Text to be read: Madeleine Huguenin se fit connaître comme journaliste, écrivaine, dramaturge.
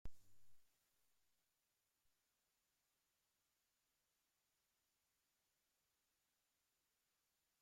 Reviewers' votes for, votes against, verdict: 0, 2, rejected